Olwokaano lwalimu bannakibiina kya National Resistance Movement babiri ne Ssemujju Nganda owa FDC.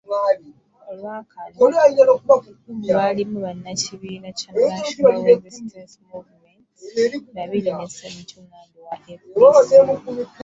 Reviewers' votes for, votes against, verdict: 1, 2, rejected